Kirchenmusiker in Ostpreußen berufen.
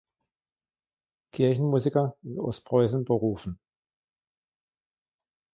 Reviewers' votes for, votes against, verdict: 2, 0, accepted